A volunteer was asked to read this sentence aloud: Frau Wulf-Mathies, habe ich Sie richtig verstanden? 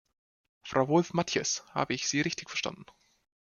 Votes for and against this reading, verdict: 1, 2, rejected